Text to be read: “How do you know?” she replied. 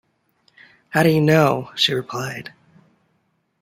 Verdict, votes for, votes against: accepted, 2, 0